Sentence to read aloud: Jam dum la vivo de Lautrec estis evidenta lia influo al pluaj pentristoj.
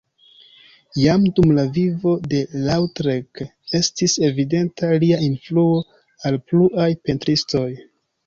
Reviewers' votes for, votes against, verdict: 3, 0, accepted